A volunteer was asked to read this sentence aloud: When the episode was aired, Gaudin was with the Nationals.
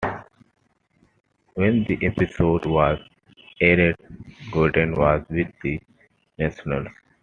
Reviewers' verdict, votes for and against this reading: rejected, 1, 2